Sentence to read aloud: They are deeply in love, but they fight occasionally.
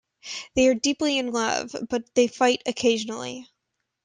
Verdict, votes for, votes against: accepted, 2, 0